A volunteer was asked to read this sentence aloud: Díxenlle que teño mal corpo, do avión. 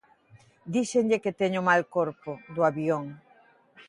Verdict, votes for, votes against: accepted, 2, 0